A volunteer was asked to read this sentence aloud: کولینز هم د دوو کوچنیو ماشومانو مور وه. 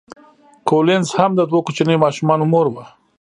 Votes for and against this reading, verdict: 0, 2, rejected